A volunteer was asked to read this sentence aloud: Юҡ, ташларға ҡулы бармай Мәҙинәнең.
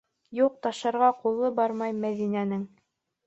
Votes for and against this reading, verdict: 1, 3, rejected